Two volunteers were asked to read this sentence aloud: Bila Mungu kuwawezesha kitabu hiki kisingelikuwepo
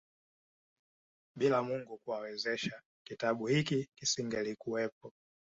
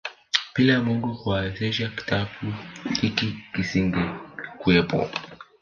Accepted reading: first